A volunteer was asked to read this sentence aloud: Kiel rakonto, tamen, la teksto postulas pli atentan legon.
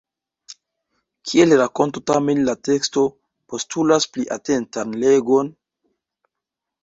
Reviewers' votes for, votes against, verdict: 1, 2, rejected